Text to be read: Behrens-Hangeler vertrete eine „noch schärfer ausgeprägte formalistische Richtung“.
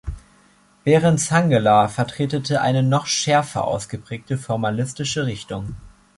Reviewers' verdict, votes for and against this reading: rejected, 1, 2